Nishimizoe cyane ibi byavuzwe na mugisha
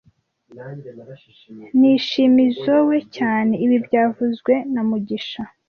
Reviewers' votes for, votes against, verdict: 1, 2, rejected